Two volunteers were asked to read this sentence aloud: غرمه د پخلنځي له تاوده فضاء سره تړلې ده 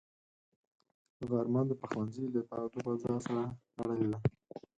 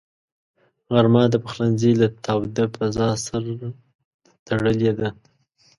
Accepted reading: second